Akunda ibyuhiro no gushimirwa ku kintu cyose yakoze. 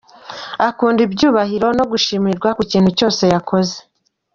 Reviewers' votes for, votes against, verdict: 2, 0, accepted